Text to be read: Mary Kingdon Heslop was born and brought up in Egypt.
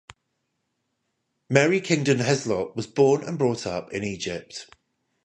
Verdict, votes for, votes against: rejected, 5, 5